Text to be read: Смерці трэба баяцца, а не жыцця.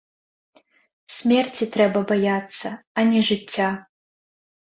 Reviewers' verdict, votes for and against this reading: accepted, 2, 0